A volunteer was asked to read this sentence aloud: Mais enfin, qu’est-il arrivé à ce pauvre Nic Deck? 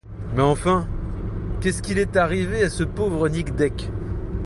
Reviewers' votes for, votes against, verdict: 0, 2, rejected